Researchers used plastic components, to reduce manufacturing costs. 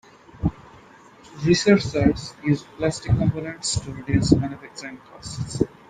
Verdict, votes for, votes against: rejected, 1, 2